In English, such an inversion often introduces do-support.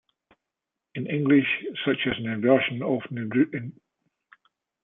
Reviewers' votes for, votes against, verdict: 0, 2, rejected